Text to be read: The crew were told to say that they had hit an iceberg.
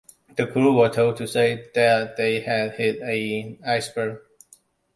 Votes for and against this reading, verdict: 2, 1, accepted